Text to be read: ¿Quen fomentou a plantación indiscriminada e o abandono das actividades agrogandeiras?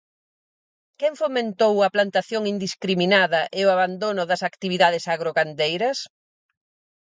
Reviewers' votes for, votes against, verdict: 4, 0, accepted